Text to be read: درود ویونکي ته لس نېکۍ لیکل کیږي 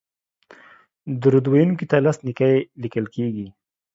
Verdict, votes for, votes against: accepted, 2, 0